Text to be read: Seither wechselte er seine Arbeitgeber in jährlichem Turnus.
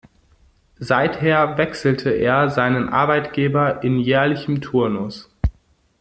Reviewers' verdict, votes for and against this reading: rejected, 1, 2